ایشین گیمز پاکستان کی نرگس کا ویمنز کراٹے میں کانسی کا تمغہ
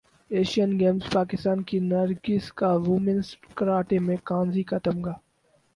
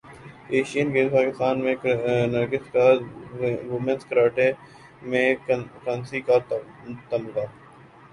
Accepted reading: first